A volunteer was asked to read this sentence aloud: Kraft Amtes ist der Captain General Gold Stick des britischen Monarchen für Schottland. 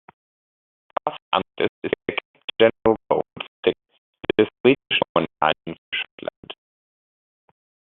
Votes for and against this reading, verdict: 0, 2, rejected